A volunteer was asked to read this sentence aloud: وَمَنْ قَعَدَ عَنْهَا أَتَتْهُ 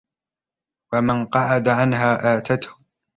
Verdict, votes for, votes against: rejected, 1, 2